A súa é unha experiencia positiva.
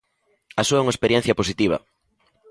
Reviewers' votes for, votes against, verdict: 2, 0, accepted